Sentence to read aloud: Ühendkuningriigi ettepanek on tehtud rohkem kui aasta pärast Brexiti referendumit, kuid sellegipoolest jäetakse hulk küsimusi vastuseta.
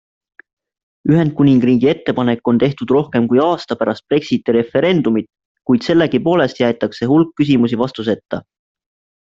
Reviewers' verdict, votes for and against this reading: accepted, 2, 0